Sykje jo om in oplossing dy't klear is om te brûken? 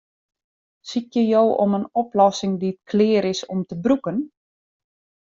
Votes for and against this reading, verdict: 2, 0, accepted